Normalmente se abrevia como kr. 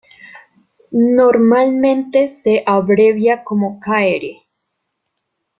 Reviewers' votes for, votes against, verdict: 1, 2, rejected